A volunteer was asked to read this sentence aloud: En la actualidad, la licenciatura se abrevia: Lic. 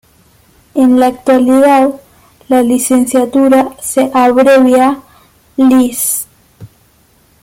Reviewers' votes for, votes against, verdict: 1, 2, rejected